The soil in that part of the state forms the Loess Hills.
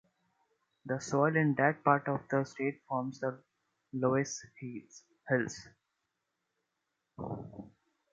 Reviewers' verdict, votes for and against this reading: rejected, 1, 2